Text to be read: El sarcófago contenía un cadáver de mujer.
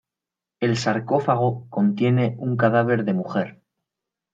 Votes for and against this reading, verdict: 1, 2, rejected